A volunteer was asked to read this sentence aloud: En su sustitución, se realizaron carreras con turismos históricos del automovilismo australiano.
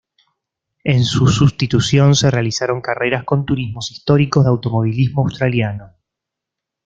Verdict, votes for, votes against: rejected, 1, 2